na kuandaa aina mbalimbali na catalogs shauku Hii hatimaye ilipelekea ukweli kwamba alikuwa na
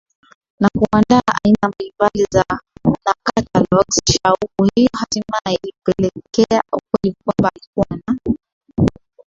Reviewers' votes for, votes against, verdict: 0, 2, rejected